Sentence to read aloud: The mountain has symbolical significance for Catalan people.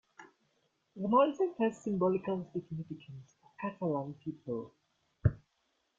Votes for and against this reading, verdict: 1, 2, rejected